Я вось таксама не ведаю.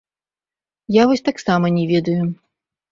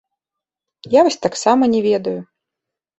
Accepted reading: second